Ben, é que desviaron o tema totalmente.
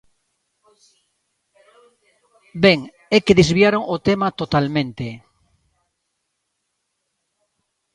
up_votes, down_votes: 2, 0